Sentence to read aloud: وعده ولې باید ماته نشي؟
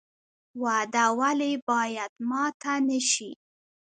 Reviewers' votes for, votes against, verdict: 0, 2, rejected